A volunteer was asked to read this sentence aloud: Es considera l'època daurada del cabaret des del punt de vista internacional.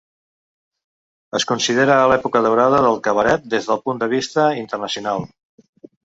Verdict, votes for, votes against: accepted, 2, 1